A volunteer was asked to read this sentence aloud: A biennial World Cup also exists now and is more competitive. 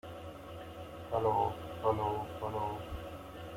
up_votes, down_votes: 1, 2